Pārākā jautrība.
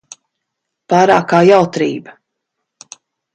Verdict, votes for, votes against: accepted, 2, 0